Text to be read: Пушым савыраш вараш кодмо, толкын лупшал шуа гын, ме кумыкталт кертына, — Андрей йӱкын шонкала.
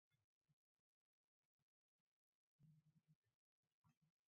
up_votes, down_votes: 0, 2